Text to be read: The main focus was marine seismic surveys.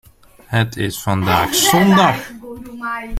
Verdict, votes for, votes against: rejected, 0, 2